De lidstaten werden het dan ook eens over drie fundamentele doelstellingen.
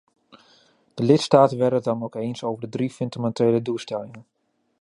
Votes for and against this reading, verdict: 0, 2, rejected